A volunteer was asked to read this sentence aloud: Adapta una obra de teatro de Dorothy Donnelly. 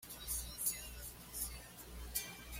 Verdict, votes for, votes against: rejected, 1, 2